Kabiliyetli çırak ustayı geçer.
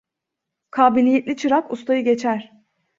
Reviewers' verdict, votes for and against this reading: accepted, 2, 0